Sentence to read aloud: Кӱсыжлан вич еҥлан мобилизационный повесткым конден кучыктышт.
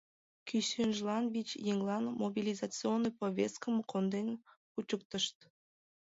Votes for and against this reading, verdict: 2, 4, rejected